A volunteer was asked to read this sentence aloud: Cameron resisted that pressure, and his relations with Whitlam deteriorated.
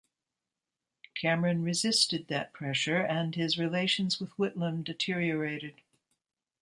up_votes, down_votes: 2, 1